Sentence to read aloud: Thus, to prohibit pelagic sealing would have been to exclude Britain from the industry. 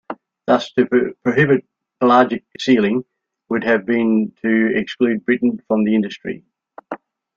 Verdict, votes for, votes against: rejected, 0, 2